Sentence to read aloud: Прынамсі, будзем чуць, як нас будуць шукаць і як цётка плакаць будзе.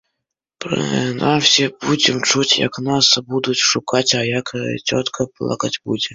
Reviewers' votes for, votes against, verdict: 1, 2, rejected